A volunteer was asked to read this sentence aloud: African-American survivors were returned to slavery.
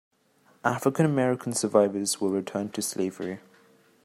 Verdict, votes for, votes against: accepted, 2, 0